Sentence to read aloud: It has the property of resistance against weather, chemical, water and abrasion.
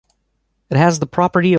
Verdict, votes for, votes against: accepted, 2, 1